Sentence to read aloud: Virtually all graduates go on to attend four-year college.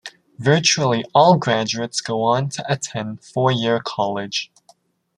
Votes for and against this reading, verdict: 2, 0, accepted